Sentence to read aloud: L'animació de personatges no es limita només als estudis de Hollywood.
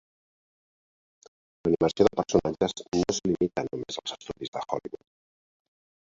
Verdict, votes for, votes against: rejected, 1, 2